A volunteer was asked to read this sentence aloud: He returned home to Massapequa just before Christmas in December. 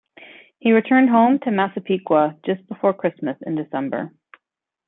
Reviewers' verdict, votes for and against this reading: accepted, 2, 0